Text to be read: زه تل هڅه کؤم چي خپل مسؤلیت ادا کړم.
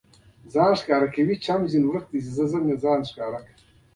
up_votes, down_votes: 0, 2